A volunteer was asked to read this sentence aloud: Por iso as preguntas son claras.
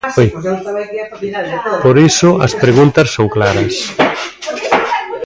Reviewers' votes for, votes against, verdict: 0, 2, rejected